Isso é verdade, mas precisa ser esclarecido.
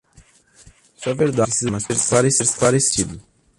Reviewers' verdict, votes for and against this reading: rejected, 0, 2